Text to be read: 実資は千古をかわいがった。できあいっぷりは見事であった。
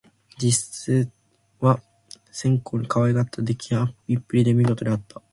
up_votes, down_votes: 0, 2